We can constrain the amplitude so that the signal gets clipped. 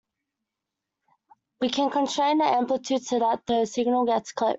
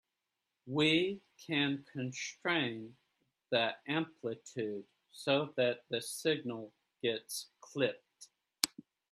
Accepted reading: first